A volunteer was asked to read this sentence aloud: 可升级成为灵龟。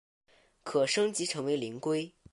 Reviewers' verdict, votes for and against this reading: accepted, 2, 0